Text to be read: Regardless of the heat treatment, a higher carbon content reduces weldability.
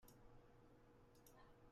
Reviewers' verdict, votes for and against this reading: rejected, 0, 2